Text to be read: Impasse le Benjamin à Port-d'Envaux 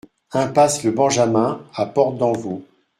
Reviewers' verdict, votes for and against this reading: rejected, 0, 2